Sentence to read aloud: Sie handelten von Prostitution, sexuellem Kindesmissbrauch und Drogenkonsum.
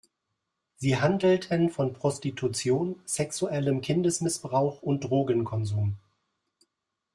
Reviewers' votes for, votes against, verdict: 1, 2, rejected